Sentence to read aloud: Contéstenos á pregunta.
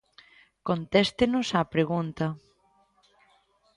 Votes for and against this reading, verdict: 2, 0, accepted